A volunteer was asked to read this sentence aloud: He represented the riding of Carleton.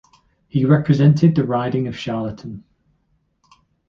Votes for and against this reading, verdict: 1, 2, rejected